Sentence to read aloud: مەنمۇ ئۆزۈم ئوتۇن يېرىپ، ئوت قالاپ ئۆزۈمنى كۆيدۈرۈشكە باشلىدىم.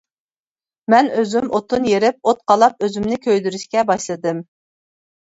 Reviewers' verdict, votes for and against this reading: rejected, 1, 2